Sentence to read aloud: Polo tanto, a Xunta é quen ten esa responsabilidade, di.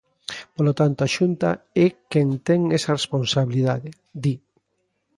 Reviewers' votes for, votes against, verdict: 2, 0, accepted